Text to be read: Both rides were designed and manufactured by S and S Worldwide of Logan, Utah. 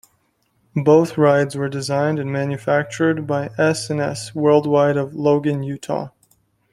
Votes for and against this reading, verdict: 2, 1, accepted